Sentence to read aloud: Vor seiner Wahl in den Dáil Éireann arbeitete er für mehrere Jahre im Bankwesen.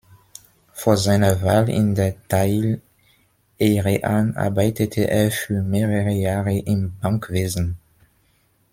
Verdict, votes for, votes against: accepted, 2, 0